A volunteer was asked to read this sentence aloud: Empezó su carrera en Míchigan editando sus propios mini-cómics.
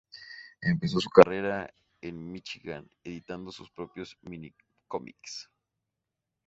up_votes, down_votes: 2, 0